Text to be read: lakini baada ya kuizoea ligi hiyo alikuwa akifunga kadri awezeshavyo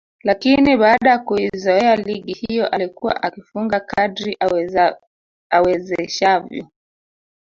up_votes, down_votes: 1, 2